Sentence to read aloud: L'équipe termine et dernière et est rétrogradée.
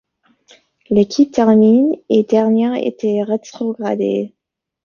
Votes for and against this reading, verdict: 1, 2, rejected